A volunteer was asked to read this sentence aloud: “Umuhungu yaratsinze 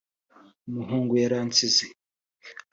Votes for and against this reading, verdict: 1, 2, rejected